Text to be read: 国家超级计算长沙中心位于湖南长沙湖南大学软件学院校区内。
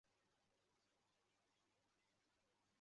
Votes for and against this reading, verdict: 2, 0, accepted